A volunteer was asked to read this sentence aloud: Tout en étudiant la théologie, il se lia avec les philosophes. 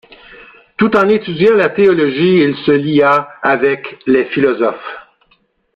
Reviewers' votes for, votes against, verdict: 2, 0, accepted